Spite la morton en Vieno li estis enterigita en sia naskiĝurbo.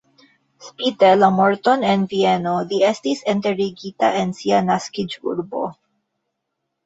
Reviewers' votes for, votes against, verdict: 2, 1, accepted